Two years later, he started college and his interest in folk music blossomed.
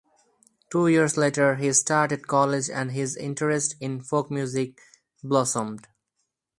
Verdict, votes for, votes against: accepted, 4, 0